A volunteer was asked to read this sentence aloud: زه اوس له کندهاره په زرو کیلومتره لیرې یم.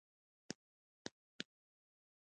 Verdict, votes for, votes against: rejected, 0, 2